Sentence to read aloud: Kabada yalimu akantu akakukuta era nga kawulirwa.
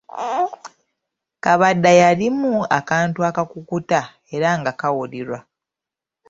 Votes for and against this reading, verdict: 3, 0, accepted